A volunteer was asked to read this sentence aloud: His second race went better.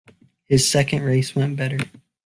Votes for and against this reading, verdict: 2, 1, accepted